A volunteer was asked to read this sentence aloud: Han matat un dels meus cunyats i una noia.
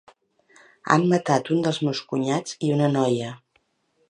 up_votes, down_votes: 3, 0